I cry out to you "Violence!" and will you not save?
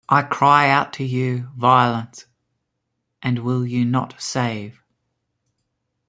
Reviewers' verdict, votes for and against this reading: accepted, 3, 1